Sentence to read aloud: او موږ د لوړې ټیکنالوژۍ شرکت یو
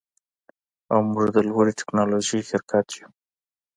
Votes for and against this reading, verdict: 2, 0, accepted